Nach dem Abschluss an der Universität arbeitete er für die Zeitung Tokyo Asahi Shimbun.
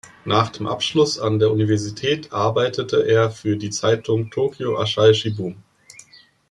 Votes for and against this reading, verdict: 0, 2, rejected